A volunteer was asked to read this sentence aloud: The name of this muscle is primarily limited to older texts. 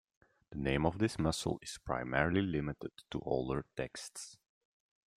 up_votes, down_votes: 1, 2